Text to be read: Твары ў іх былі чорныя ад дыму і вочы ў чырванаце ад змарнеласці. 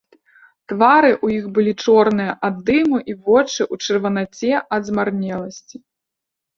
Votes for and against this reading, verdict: 2, 0, accepted